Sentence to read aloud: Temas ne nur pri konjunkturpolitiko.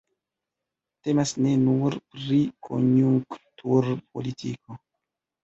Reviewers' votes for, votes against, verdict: 1, 2, rejected